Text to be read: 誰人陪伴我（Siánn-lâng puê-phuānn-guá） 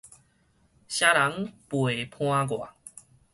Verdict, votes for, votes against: rejected, 2, 2